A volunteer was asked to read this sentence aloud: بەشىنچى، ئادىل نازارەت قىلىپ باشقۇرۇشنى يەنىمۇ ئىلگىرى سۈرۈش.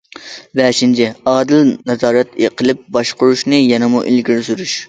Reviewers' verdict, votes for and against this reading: rejected, 0, 2